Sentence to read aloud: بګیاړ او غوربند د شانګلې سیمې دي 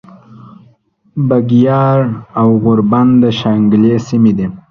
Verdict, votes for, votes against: accepted, 2, 0